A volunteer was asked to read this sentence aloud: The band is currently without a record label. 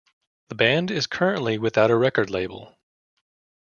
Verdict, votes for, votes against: accepted, 2, 0